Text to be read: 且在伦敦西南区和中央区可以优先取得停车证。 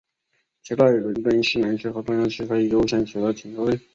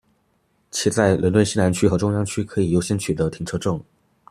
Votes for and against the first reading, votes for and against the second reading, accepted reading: 1, 2, 2, 1, second